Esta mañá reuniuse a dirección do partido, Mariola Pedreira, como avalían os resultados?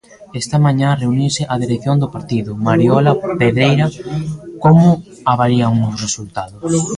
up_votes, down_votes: 1, 2